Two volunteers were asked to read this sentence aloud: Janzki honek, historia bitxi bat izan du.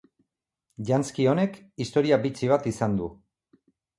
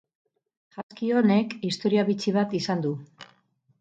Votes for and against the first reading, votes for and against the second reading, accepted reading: 2, 0, 2, 2, first